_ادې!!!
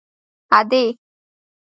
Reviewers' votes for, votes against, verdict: 2, 1, accepted